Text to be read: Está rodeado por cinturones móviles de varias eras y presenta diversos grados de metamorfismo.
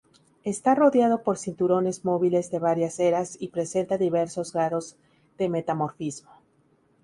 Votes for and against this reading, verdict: 4, 0, accepted